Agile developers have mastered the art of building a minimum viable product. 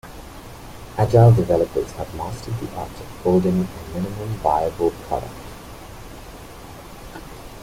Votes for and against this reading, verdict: 2, 1, accepted